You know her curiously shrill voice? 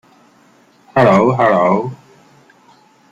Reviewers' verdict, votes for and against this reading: rejected, 0, 2